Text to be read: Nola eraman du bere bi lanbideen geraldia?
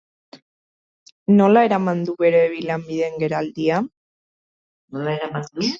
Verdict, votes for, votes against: rejected, 0, 3